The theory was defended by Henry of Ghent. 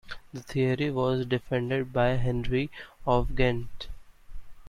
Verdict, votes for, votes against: accepted, 2, 0